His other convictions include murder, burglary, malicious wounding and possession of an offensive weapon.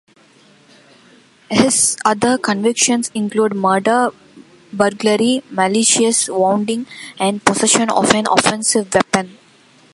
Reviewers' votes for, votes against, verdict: 2, 0, accepted